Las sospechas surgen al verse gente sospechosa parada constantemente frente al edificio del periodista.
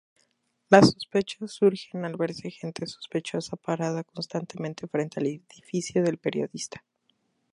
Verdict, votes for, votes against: rejected, 2, 4